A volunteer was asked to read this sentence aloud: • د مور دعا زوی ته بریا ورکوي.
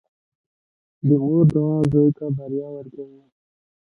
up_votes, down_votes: 2, 0